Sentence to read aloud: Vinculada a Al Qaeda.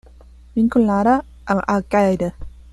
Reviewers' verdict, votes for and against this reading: accepted, 2, 0